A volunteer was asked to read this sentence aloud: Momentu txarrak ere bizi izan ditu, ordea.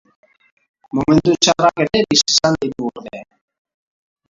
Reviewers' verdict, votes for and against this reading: rejected, 0, 2